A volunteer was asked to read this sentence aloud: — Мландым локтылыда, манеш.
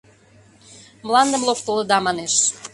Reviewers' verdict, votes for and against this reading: accepted, 2, 0